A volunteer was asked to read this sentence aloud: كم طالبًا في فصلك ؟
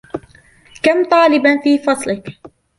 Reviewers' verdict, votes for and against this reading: accepted, 2, 1